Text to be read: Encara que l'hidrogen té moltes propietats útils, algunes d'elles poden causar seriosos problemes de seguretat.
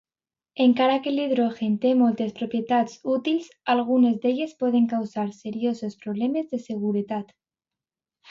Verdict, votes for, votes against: rejected, 1, 2